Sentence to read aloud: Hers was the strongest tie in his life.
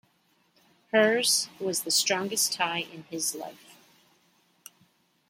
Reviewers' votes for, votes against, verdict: 0, 2, rejected